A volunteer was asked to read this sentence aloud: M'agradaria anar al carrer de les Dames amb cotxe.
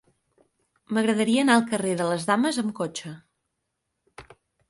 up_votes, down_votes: 6, 0